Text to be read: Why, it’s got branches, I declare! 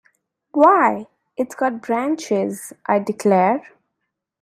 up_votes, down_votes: 2, 0